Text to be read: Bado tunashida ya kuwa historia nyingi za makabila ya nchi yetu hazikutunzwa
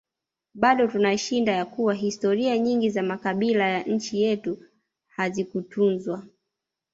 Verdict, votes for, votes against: rejected, 1, 2